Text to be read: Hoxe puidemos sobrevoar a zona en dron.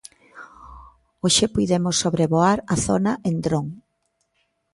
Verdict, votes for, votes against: accepted, 2, 0